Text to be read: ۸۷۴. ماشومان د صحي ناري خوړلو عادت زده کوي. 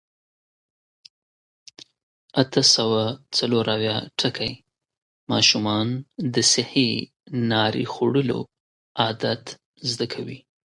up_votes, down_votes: 0, 2